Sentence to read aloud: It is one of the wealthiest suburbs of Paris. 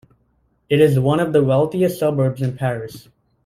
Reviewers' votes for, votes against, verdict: 2, 1, accepted